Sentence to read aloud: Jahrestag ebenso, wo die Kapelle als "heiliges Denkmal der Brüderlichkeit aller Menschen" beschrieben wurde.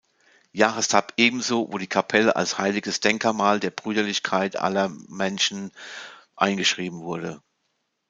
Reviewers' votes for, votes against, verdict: 0, 2, rejected